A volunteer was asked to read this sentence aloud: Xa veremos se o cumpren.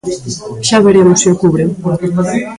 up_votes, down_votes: 0, 2